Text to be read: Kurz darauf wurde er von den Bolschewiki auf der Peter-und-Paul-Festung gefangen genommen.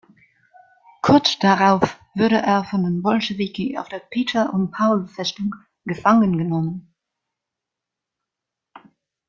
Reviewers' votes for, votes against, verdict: 2, 0, accepted